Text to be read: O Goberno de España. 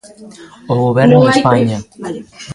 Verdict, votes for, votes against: rejected, 1, 2